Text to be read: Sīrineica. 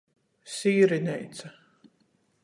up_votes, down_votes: 14, 0